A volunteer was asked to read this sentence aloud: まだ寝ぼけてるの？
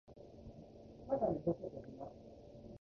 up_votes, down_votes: 0, 2